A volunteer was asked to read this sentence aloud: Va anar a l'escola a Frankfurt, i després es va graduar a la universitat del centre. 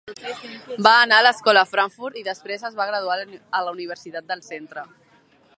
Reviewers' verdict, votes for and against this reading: rejected, 1, 2